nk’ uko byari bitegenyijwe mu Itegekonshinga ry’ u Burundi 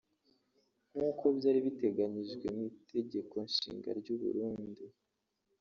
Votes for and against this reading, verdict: 0, 2, rejected